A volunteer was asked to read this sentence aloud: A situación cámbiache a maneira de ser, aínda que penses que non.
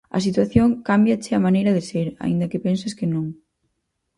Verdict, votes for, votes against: accepted, 4, 0